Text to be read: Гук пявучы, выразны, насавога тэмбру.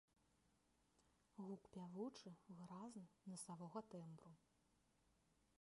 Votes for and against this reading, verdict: 2, 3, rejected